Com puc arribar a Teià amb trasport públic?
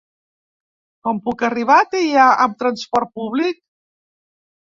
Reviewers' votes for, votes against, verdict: 2, 0, accepted